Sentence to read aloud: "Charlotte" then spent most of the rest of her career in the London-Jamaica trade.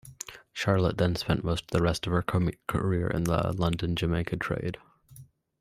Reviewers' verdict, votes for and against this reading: rejected, 0, 2